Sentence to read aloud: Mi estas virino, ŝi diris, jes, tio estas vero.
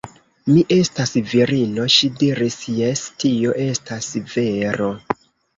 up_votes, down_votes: 2, 0